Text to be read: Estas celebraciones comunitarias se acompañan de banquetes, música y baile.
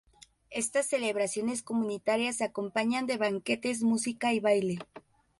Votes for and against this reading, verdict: 0, 2, rejected